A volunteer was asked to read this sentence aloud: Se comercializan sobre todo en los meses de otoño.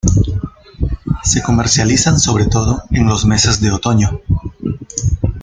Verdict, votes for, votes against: accepted, 2, 0